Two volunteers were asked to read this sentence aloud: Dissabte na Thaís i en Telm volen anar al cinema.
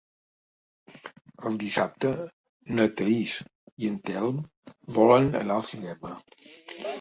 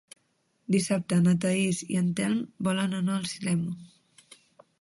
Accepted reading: second